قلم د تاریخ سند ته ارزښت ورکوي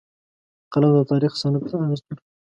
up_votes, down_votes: 2, 1